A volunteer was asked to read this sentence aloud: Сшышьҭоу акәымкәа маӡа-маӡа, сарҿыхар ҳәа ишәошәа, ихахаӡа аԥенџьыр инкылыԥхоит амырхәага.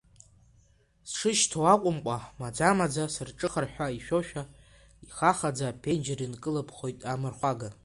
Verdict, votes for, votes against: accepted, 2, 1